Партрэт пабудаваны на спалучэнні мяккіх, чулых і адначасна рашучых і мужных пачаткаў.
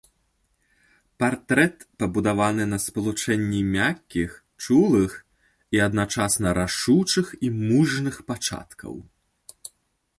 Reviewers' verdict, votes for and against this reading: accepted, 2, 0